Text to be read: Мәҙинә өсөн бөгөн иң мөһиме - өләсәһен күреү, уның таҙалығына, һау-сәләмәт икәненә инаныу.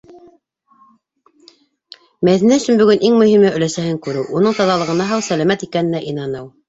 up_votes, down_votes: 0, 2